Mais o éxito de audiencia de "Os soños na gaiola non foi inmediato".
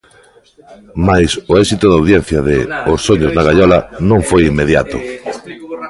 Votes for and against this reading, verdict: 1, 2, rejected